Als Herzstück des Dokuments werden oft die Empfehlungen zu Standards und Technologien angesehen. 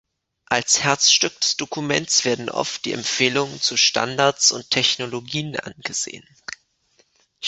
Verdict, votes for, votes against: accepted, 2, 0